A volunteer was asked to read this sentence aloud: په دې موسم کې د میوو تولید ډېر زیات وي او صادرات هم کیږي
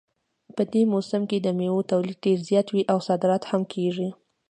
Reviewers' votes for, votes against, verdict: 2, 0, accepted